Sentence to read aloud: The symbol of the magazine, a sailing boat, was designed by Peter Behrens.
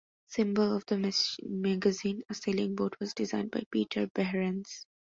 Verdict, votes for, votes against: rejected, 0, 2